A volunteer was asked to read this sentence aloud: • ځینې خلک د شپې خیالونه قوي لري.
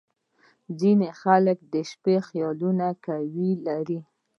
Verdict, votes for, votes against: accepted, 2, 0